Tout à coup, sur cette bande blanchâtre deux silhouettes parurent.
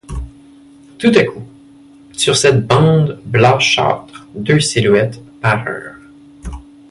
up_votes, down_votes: 2, 0